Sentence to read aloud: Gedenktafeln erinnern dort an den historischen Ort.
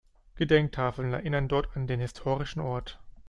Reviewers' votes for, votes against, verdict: 2, 0, accepted